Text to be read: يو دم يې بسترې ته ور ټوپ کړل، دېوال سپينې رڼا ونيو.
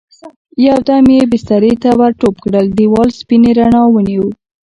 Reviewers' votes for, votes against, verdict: 2, 1, accepted